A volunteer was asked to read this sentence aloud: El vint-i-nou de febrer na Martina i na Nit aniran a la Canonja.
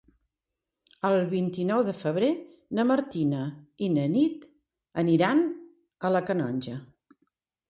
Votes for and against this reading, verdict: 4, 0, accepted